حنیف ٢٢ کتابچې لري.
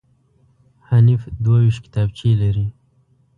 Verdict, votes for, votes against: rejected, 0, 2